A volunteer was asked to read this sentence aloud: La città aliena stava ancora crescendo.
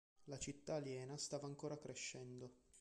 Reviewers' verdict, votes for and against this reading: accepted, 2, 0